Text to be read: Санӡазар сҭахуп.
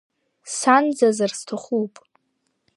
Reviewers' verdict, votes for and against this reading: accepted, 2, 0